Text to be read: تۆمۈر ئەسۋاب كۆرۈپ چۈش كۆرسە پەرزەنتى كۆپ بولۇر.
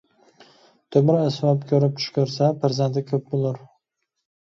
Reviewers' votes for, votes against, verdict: 2, 1, accepted